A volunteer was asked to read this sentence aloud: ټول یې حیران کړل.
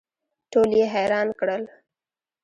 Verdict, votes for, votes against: rejected, 1, 2